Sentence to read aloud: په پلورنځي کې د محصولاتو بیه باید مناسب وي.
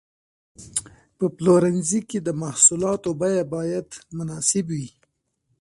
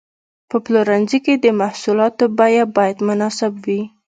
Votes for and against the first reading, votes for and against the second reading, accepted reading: 0, 2, 2, 1, second